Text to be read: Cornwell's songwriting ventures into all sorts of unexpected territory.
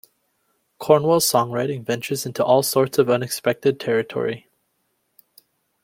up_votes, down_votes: 2, 0